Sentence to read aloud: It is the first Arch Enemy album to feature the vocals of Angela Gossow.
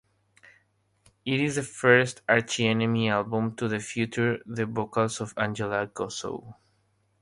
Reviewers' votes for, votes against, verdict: 3, 3, rejected